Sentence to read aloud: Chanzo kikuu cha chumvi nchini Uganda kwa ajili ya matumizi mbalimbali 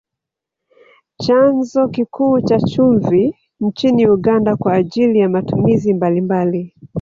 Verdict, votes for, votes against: rejected, 1, 2